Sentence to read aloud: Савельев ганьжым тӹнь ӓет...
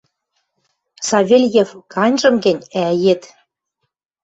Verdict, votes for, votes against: rejected, 1, 2